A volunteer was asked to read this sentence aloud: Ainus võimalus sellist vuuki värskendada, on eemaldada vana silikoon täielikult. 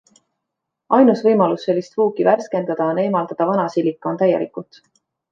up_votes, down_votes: 2, 1